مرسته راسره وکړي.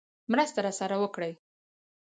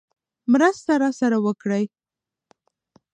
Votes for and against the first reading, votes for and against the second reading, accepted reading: 4, 2, 0, 2, first